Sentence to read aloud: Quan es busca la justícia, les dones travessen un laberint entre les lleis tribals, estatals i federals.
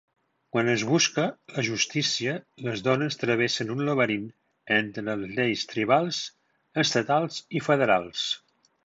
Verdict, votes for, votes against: rejected, 1, 3